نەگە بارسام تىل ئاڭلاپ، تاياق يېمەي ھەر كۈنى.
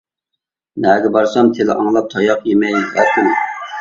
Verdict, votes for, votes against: rejected, 1, 2